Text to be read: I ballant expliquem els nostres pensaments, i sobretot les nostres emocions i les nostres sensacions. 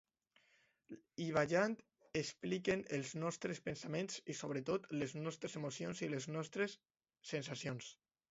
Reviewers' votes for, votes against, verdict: 0, 2, rejected